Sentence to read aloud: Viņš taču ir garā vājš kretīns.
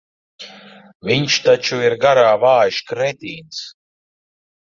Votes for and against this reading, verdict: 1, 2, rejected